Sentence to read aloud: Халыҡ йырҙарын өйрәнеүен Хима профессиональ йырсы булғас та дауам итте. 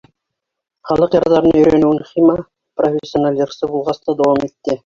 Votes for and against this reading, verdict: 3, 2, accepted